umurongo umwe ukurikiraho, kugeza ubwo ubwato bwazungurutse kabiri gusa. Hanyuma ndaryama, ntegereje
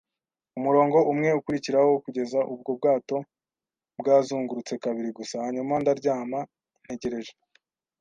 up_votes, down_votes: 2, 0